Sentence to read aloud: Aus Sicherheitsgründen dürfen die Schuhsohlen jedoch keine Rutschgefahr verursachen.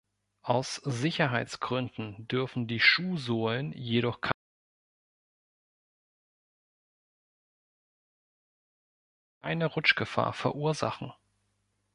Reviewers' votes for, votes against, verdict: 1, 2, rejected